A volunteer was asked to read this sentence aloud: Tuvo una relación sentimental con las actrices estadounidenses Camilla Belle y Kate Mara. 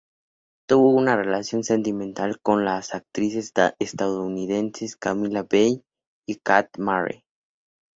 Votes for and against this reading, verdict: 4, 2, accepted